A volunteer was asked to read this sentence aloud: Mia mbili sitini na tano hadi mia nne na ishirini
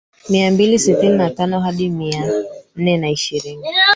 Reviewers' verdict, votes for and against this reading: rejected, 1, 3